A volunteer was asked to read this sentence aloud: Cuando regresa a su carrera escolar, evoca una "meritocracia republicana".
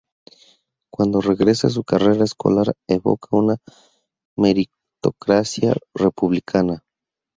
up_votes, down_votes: 0, 2